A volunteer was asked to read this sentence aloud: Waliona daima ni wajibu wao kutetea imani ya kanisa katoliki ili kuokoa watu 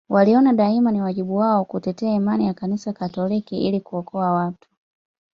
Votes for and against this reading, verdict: 2, 0, accepted